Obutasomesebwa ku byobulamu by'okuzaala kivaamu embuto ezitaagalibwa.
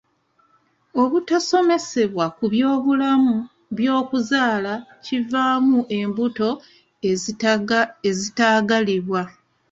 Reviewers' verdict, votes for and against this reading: rejected, 1, 2